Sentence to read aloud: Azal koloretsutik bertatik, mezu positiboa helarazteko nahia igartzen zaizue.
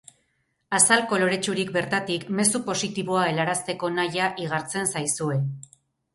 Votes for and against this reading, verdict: 4, 0, accepted